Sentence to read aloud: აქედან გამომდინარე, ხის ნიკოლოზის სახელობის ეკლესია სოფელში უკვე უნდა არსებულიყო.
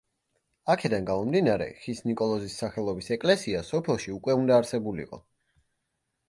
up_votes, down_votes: 2, 0